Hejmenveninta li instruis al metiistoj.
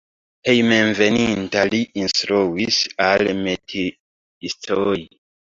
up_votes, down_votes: 0, 2